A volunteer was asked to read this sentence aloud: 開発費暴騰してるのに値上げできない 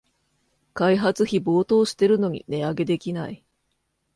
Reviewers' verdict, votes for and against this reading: accepted, 2, 0